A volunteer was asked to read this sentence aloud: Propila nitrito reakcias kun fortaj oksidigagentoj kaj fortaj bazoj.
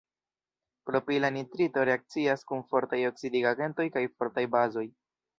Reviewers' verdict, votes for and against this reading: accepted, 2, 1